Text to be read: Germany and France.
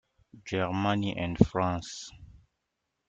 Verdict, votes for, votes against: accepted, 2, 0